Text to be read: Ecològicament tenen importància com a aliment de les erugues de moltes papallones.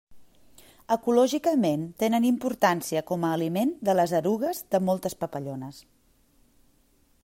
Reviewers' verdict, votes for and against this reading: accepted, 2, 0